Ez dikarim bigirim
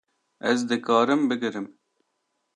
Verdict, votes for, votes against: accepted, 2, 0